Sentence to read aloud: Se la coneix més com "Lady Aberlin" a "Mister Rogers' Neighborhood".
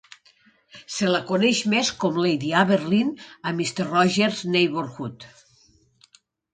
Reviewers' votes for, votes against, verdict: 3, 0, accepted